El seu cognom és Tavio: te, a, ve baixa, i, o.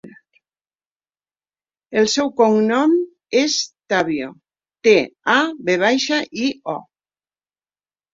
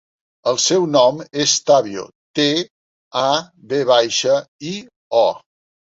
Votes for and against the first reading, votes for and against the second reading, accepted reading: 2, 0, 1, 3, first